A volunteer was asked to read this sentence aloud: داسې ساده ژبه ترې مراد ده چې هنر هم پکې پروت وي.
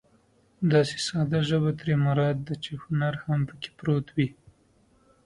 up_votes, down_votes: 2, 0